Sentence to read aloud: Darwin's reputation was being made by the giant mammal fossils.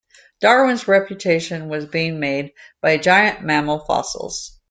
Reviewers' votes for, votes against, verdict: 0, 2, rejected